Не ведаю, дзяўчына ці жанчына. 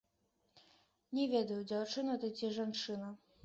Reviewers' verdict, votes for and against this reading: rejected, 0, 2